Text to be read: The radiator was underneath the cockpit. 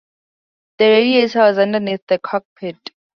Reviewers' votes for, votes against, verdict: 2, 2, rejected